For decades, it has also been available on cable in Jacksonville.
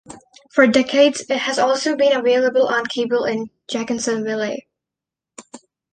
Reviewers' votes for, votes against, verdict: 0, 2, rejected